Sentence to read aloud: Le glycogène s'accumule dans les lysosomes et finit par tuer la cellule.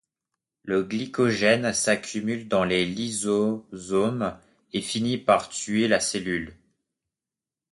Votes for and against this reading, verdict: 0, 2, rejected